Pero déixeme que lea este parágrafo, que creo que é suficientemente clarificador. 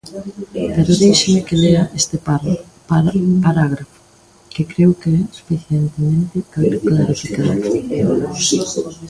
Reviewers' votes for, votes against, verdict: 0, 2, rejected